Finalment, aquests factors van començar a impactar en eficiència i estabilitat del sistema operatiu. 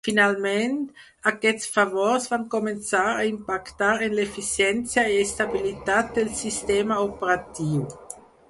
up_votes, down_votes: 2, 4